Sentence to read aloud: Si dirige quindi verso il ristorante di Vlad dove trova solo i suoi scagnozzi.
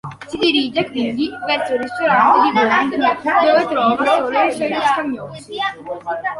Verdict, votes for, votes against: rejected, 0, 2